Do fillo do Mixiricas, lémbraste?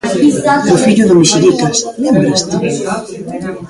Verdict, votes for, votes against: rejected, 0, 2